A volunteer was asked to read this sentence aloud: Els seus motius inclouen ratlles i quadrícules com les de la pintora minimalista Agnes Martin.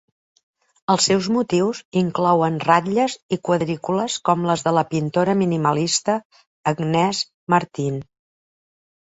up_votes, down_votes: 1, 2